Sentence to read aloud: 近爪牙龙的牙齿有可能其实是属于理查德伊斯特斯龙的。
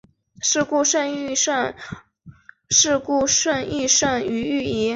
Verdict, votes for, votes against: rejected, 0, 2